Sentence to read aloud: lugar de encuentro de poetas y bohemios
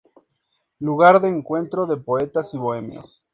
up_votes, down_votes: 4, 0